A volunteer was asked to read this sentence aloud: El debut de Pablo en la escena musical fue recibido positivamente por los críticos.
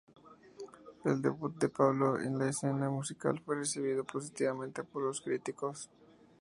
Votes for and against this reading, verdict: 0, 2, rejected